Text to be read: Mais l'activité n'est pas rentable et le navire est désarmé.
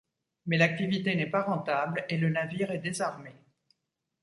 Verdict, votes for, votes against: accepted, 2, 0